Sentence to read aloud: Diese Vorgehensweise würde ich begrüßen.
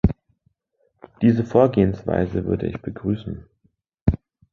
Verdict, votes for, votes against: accepted, 2, 0